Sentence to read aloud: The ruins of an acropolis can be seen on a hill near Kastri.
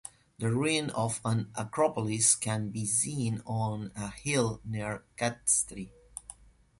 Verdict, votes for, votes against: rejected, 0, 2